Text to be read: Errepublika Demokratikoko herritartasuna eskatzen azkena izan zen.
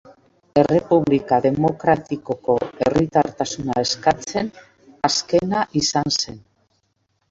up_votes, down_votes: 2, 0